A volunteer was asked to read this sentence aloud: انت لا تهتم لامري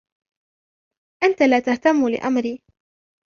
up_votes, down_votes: 2, 0